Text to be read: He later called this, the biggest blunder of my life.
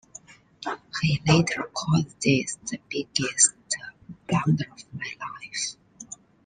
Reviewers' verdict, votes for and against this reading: rejected, 1, 2